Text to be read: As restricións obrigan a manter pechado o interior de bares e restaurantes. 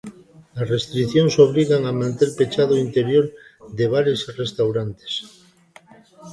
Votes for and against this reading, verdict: 1, 2, rejected